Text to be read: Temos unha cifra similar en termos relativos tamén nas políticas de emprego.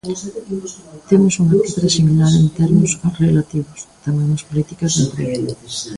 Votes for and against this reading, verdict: 0, 2, rejected